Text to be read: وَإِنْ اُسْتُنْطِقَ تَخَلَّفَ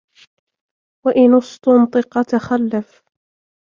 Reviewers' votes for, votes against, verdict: 2, 0, accepted